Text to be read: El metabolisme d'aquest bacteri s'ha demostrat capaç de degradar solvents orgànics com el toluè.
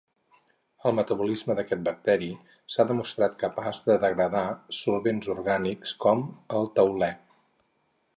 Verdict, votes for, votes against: rejected, 2, 4